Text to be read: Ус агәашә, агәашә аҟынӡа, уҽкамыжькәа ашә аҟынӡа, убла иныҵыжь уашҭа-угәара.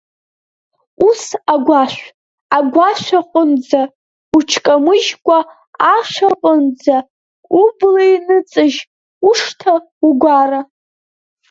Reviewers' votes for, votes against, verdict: 0, 3, rejected